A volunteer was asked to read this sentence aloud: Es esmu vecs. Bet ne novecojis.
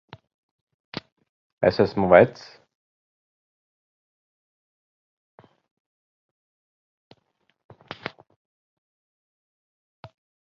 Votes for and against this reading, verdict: 0, 2, rejected